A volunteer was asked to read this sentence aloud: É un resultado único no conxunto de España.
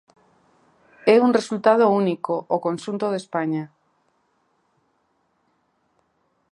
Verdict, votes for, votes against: rejected, 0, 2